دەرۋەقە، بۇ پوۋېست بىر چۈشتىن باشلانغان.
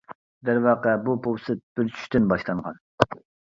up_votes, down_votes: 0, 2